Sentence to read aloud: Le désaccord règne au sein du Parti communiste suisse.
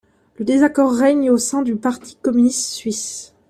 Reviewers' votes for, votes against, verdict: 1, 2, rejected